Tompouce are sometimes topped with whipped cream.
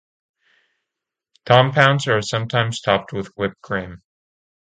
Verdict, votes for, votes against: rejected, 0, 2